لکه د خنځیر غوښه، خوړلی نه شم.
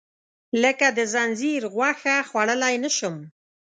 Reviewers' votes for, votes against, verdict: 1, 2, rejected